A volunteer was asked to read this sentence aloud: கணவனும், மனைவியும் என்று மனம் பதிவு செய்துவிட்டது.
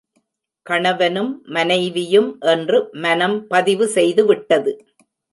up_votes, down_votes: 2, 0